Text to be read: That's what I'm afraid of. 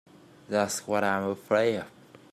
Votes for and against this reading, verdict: 1, 2, rejected